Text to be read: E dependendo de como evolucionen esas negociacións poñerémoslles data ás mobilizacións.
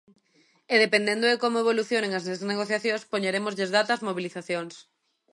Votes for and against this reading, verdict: 0, 2, rejected